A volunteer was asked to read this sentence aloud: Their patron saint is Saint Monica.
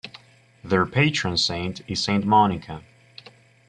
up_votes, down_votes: 2, 0